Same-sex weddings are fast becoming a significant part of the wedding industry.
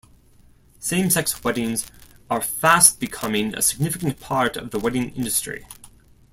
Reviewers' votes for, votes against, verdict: 2, 0, accepted